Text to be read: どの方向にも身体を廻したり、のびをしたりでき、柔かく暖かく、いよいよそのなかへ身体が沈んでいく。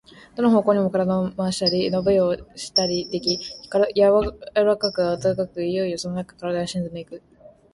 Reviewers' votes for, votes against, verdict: 4, 1, accepted